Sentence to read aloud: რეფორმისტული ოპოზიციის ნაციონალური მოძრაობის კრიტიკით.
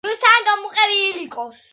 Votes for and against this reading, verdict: 0, 2, rejected